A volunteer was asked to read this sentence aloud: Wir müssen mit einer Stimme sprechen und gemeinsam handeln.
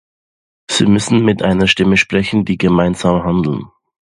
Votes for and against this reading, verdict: 0, 2, rejected